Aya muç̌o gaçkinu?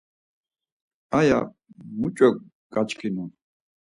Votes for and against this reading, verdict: 4, 0, accepted